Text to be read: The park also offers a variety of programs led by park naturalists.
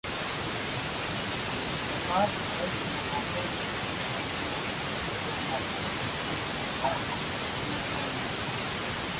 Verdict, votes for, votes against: rejected, 0, 2